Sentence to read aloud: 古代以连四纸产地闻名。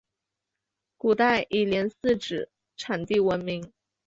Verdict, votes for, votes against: rejected, 0, 2